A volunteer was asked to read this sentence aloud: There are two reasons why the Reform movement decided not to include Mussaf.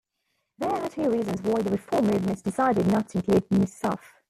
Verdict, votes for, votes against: rejected, 1, 2